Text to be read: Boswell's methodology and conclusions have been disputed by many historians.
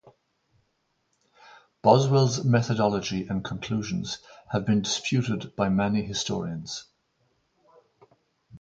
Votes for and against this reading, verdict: 4, 2, accepted